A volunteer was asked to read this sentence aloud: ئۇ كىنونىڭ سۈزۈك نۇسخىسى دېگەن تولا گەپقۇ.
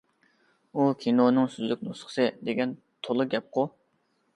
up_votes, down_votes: 2, 0